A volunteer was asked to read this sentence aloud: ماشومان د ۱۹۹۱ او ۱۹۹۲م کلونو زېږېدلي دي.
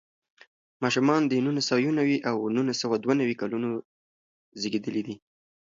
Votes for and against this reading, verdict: 0, 2, rejected